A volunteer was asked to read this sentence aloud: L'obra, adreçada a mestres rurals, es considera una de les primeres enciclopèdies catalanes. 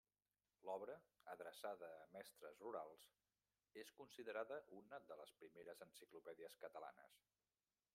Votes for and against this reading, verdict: 0, 2, rejected